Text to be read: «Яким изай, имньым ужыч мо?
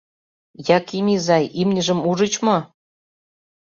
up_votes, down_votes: 2, 0